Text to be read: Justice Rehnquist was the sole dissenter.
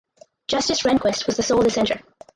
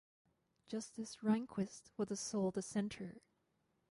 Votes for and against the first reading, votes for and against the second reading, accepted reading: 2, 4, 4, 2, second